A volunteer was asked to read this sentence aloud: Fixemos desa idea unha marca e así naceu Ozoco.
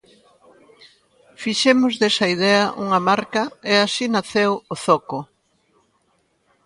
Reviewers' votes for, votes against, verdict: 2, 0, accepted